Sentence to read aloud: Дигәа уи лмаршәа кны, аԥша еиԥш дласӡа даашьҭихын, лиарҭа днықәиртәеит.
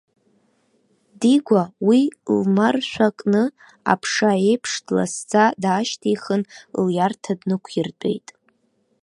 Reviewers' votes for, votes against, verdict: 0, 2, rejected